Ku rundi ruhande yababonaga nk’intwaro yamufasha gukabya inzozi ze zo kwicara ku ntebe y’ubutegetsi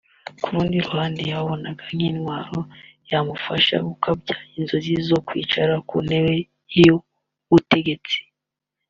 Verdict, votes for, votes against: accepted, 2, 0